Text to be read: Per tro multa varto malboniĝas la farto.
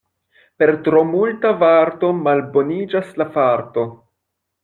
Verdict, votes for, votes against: accepted, 2, 0